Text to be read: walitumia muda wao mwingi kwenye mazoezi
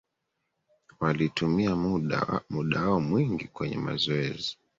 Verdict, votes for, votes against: accepted, 2, 1